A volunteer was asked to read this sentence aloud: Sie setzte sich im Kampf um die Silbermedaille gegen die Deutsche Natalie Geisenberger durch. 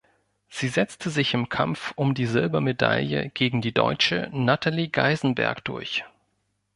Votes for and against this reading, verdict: 1, 2, rejected